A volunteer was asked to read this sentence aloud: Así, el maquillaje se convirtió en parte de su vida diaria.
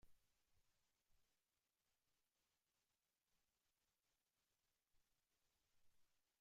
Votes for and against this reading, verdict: 0, 3, rejected